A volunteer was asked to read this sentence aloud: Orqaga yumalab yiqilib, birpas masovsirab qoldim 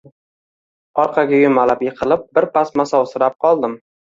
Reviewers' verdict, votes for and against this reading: accepted, 2, 0